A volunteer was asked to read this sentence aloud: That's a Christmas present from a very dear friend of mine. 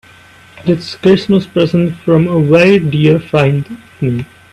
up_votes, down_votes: 0, 2